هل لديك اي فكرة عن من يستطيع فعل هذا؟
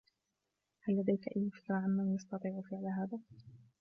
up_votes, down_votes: 2, 0